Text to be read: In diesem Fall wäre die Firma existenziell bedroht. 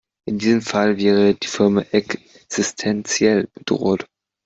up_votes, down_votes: 1, 2